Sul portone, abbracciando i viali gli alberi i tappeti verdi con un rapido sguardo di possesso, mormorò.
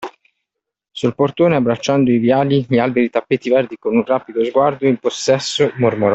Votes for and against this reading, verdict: 1, 2, rejected